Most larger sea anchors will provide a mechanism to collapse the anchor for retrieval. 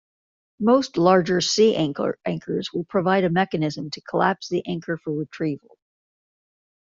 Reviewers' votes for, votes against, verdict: 1, 2, rejected